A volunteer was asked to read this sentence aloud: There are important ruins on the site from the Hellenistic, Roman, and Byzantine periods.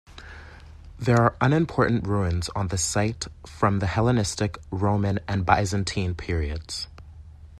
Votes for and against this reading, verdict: 0, 2, rejected